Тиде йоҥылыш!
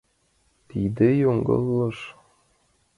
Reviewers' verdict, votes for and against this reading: accepted, 2, 1